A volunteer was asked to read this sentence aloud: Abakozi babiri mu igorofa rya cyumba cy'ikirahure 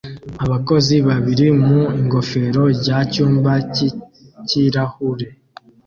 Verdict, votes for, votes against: rejected, 0, 2